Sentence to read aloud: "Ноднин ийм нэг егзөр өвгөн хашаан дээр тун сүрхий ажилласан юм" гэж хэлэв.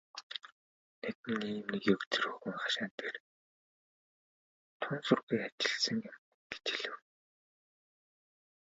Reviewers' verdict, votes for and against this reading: rejected, 0, 2